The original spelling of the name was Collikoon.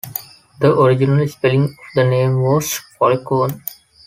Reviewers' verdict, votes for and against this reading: rejected, 0, 2